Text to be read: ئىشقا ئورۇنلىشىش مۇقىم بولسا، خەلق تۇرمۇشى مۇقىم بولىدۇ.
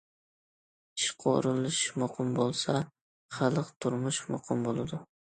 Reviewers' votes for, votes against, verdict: 1, 2, rejected